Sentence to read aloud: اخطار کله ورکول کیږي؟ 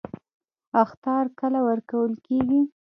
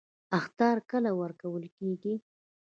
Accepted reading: second